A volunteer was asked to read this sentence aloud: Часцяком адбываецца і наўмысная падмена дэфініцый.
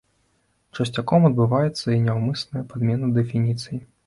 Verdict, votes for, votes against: rejected, 1, 2